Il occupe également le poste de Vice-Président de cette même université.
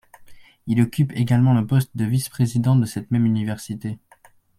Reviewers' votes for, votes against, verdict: 2, 0, accepted